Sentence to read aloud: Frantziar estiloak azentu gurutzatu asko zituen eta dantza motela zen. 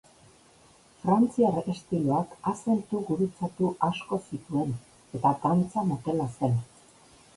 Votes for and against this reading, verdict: 0, 2, rejected